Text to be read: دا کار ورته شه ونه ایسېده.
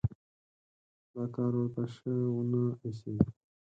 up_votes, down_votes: 2, 4